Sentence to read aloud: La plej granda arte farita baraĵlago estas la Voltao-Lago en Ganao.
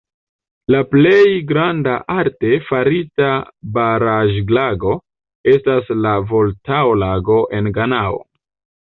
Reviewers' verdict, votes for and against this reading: accepted, 2, 0